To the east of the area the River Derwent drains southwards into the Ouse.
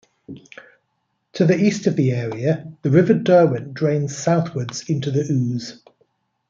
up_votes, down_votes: 2, 0